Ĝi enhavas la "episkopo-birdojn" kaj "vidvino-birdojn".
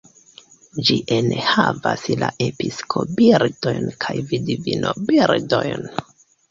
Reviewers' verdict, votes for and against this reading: accepted, 2, 1